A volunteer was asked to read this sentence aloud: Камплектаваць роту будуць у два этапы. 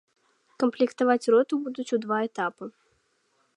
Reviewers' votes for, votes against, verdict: 3, 0, accepted